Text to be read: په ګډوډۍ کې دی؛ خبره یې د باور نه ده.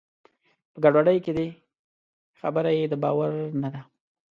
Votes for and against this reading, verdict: 2, 0, accepted